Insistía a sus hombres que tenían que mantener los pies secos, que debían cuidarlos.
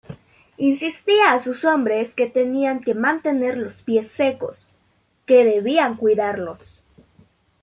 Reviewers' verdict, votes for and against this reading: accepted, 2, 0